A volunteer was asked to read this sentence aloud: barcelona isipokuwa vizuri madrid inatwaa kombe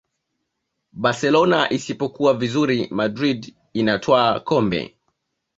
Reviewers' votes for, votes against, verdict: 2, 0, accepted